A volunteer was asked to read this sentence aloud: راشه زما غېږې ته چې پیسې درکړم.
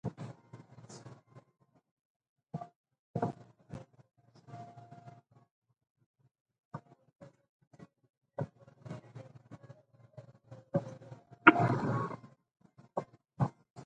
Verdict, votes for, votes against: rejected, 0, 2